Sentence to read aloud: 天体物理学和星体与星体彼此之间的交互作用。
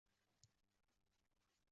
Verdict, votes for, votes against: rejected, 0, 2